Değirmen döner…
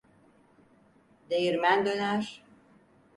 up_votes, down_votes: 4, 0